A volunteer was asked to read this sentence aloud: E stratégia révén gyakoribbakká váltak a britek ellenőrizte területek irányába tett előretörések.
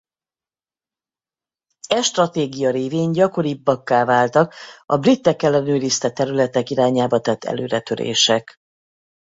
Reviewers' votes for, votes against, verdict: 4, 0, accepted